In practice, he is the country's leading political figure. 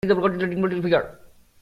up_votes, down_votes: 0, 2